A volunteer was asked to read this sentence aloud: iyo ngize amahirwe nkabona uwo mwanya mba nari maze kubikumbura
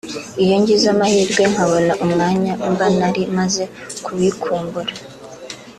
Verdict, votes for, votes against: accepted, 2, 1